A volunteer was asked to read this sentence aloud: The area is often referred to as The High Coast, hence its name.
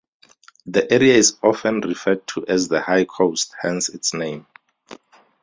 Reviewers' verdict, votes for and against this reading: accepted, 2, 0